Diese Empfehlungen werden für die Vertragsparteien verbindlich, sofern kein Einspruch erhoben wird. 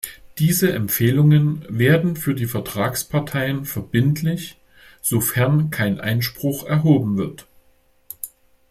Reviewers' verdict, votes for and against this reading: accepted, 2, 0